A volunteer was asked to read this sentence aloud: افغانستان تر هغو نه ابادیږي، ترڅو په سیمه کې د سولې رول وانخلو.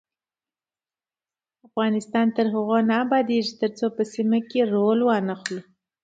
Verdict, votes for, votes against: rejected, 1, 2